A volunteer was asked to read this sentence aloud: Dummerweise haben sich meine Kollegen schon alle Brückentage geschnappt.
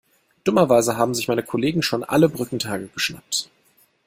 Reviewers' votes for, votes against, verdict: 1, 2, rejected